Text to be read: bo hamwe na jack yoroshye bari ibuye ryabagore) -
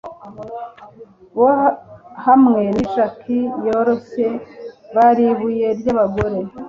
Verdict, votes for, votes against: accepted, 2, 0